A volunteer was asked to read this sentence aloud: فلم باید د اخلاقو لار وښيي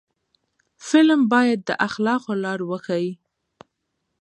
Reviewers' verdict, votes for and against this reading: accepted, 2, 0